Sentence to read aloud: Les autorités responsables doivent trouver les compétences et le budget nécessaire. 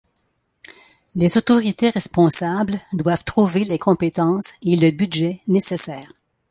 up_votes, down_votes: 2, 0